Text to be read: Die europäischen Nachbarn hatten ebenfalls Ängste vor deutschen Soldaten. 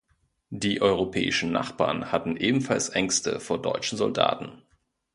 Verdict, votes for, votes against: accepted, 2, 0